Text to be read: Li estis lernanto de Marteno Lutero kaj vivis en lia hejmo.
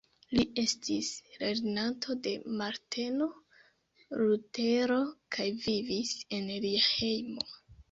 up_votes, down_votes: 1, 2